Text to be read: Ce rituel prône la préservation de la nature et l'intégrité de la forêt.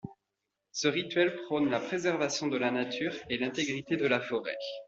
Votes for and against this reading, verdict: 2, 0, accepted